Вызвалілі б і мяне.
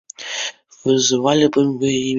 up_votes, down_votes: 1, 2